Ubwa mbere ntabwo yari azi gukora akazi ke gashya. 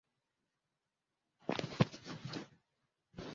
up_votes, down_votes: 0, 2